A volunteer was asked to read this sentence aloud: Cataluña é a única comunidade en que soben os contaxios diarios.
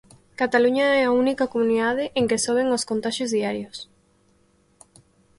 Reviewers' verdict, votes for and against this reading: accepted, 25, 0